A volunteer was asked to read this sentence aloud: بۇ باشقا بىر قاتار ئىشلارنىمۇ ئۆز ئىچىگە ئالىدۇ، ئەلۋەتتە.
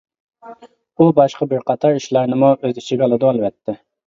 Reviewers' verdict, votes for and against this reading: rejected, 1, 2